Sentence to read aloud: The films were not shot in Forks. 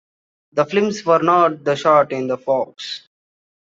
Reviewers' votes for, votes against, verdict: 0, 2, rejected